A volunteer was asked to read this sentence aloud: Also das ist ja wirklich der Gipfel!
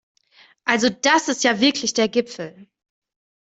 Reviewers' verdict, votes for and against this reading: accepted, 2, 0